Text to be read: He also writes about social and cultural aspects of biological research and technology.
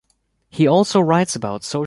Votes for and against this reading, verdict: 0, 2, rejected